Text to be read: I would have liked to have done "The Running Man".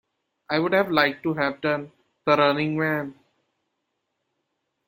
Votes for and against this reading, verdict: 0, 2, rejected